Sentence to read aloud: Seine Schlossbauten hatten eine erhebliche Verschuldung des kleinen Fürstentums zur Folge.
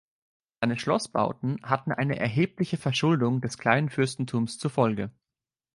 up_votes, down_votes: 0, 2